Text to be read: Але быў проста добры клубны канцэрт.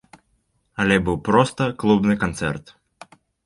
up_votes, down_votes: 0, 2